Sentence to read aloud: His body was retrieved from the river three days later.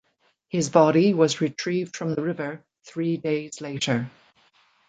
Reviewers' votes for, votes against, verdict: 2, 0, accepted